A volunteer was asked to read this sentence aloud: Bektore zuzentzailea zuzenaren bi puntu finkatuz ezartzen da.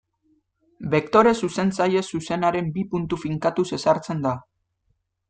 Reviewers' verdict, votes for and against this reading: rejected, 1, 2